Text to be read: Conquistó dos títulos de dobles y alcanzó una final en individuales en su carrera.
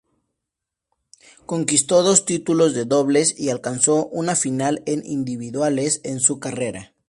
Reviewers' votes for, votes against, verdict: 2, 0, accepted